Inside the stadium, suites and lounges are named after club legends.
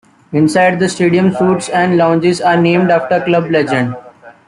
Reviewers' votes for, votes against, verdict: 2, 1, accepted